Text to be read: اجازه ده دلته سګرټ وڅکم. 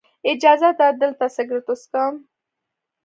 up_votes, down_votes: 2, 0